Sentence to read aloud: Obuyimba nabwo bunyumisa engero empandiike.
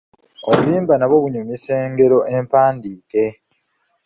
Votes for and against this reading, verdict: 3, 0, accepted